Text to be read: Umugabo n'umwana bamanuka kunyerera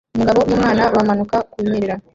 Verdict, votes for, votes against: rejected, 1, 2